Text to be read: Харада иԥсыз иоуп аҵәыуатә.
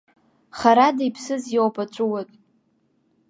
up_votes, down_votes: 0, 2